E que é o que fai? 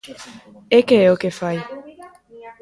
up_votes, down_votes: 0, 2